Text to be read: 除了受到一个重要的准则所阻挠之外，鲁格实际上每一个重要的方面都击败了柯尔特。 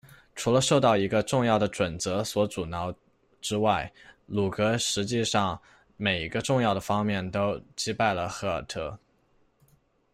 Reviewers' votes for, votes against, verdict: 0, 2, rejected